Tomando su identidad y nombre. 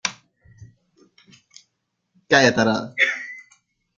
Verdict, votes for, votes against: rejected, 0, 2